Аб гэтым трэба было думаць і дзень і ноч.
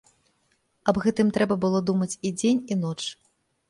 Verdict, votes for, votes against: accepted, 4, 0